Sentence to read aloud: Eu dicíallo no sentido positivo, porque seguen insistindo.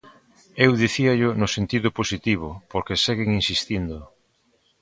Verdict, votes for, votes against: accepted, 3, 0